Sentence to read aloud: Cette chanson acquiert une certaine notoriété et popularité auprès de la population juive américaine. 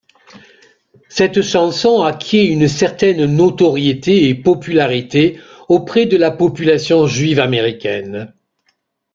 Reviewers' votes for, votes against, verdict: 0, 2, rejected